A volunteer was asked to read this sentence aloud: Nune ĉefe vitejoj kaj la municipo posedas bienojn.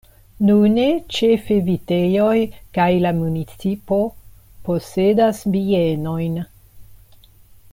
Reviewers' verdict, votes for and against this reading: accepted, 2, 0